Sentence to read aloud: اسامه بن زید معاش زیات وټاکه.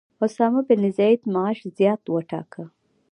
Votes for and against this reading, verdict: 2, 0, accepted